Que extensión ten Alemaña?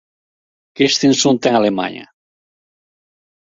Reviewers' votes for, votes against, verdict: 0, 2, rejected